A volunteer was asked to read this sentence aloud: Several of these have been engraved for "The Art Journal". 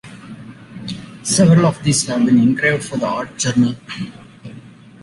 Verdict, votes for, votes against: rejected, 1, 2